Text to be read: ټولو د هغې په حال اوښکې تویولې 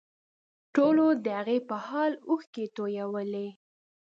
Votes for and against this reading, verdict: 2, 0, accepted